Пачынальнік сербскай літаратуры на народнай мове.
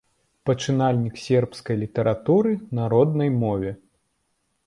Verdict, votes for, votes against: rejected, 1, 2